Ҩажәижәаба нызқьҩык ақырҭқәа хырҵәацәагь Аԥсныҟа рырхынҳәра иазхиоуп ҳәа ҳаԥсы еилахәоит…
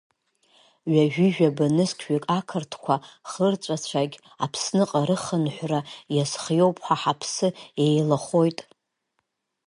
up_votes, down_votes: 1, 4